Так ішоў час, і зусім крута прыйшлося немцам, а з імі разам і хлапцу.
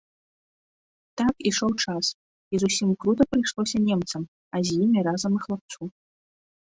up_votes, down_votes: 2, 0